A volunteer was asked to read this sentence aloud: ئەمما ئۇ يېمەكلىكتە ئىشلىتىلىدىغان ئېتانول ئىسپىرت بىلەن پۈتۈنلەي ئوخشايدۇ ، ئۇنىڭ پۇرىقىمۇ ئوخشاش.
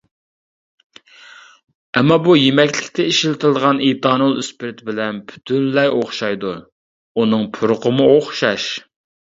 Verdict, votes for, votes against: rejected, 1, 2